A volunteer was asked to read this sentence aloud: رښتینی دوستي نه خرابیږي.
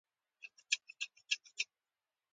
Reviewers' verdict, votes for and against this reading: rejected, 1, 2